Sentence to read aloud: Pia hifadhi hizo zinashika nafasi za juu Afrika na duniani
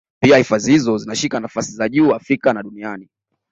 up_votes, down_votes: 2, 0